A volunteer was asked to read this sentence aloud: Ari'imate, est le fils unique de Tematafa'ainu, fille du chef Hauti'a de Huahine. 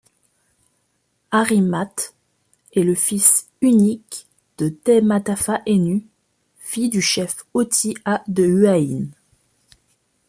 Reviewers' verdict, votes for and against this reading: accepted, 2, 0